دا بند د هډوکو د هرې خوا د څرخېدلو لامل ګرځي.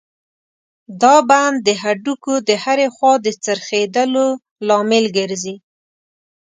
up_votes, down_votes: 2, 0